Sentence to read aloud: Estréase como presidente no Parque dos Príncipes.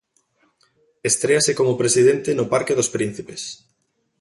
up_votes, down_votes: 2, 0